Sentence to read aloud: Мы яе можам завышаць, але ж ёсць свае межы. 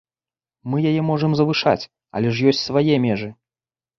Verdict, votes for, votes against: accepted, 2, 0